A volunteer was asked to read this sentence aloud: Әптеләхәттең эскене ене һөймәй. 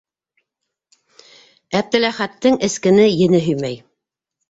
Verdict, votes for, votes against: accepted, 2, 0